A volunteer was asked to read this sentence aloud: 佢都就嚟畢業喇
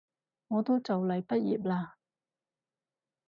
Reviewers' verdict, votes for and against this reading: rejected, 2, 2